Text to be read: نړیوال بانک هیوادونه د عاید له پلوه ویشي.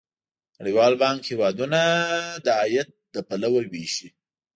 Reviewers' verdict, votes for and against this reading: accepted, 2, 0